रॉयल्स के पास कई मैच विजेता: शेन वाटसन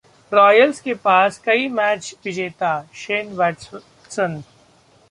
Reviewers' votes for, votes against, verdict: 0, 2, rejected